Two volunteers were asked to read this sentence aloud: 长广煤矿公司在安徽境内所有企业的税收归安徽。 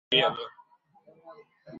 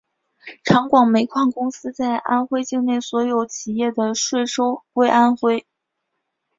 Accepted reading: second